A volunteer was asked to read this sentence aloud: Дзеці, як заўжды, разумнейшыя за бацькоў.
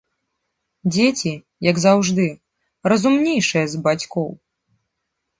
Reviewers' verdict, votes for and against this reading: accepted, 3, 0